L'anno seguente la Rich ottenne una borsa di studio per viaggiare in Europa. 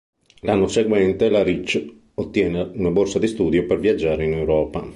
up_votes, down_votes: 0, 2